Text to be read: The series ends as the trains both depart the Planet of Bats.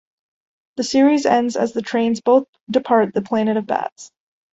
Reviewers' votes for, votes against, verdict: 2, 0, accepted